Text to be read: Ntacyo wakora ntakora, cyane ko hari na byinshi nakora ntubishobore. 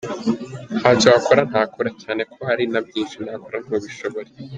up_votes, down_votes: 2, 1